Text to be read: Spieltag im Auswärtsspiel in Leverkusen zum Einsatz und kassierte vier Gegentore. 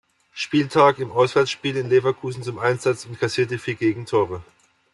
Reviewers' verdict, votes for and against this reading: accepted, 2, 0